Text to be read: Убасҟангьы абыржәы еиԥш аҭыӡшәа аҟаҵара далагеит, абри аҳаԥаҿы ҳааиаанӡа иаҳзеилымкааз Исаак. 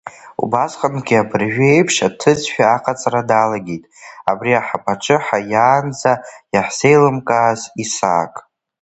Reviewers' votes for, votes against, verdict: 2, 1, accepted